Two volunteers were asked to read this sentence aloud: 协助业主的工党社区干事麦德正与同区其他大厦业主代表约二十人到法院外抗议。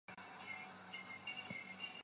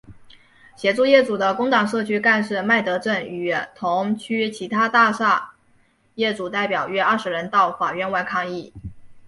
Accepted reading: second